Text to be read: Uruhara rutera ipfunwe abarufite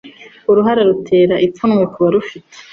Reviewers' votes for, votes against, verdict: 1, 2, rejected